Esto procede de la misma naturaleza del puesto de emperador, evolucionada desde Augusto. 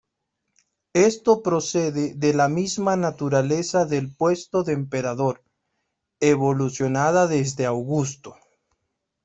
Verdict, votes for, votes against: accepted, 2, 0